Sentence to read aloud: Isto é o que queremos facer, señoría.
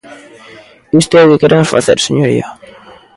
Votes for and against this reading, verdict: 2, 1, accepted